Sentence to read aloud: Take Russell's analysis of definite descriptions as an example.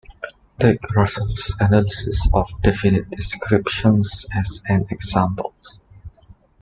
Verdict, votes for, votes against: accepted, 2, 0